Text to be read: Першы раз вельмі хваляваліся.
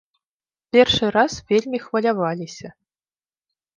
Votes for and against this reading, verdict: 2, 0, accepted